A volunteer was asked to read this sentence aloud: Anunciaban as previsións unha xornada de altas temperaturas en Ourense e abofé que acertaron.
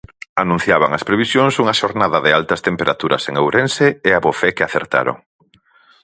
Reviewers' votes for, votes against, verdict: 6, 0, accepted